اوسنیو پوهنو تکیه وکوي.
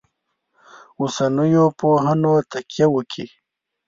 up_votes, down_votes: 1, 2